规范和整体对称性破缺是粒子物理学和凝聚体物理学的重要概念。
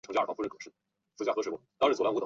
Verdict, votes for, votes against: rejected, 3, 4